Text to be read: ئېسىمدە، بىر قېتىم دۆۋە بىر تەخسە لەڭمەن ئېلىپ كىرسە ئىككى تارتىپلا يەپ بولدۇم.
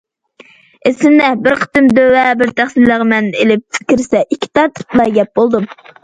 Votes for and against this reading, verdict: 2, 0, accepted